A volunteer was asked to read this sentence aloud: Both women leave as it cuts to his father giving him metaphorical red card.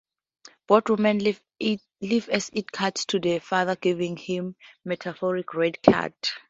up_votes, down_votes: 0, 4